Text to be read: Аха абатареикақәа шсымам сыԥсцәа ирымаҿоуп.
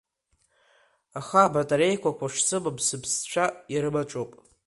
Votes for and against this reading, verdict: 2, 1, accepted